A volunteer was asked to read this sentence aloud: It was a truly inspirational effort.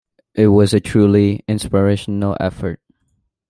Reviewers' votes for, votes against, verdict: 2, 0, accepted